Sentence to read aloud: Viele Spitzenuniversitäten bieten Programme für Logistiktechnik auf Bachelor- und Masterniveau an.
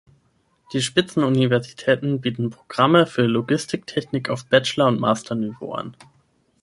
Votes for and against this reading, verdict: 0, 6, rejected